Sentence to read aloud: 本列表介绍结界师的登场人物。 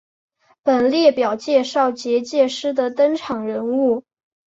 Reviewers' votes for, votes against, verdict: 8, 3, accepted